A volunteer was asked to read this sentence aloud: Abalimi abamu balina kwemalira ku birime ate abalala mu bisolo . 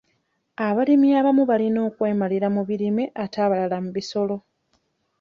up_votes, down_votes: 1, 2